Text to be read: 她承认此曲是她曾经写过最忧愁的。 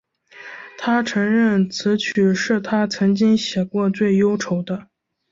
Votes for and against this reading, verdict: 2, 0, accepted